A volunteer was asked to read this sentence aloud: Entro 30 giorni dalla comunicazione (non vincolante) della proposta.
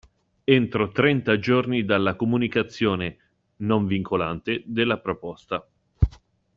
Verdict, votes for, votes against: rejected, 0, 2